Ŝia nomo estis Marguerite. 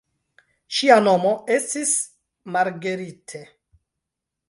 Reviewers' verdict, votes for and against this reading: accepted, 2, 0